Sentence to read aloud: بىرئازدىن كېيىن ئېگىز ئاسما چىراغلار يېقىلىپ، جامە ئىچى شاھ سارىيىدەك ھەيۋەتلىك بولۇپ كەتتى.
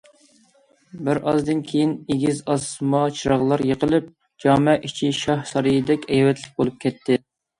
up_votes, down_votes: 2, 0